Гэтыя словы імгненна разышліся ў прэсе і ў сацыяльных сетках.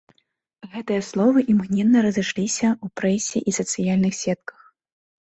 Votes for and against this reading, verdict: 0, 2, rejected